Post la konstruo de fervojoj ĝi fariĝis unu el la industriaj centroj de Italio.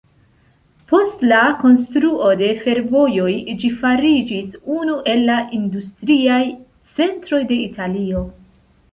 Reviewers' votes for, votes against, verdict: 2, 0, accepted